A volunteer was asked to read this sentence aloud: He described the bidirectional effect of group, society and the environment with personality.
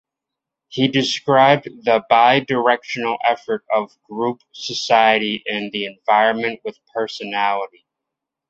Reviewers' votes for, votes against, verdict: 1, 2, rejected